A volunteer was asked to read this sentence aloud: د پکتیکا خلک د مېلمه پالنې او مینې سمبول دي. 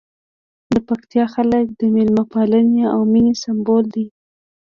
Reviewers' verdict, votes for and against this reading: accepted, 2, 0